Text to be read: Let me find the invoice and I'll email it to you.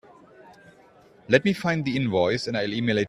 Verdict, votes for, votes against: rejected, 0, 2